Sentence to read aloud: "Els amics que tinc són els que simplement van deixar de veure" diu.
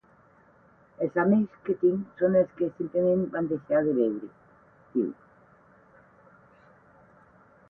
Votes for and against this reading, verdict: 8, 0, accepted